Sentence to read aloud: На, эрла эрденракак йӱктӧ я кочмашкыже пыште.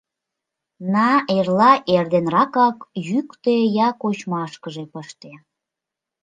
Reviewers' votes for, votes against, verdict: 2, 0, accepted